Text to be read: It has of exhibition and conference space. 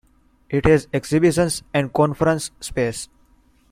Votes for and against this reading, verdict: 0, 2, rejected